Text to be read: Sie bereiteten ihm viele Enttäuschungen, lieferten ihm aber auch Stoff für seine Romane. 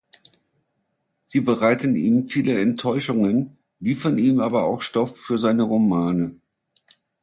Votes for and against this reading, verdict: 0, 2, rejected